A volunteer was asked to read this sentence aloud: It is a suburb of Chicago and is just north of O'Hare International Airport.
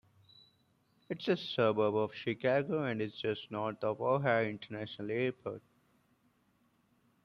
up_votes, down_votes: 2, 0